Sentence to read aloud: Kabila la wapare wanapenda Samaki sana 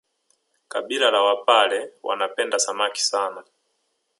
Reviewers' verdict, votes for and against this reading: accepted, 3, 0